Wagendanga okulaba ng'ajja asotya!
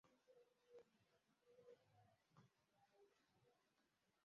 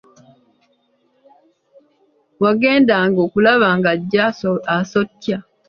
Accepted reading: second